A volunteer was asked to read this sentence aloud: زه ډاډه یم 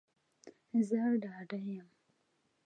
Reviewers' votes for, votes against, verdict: 2, 1, accepted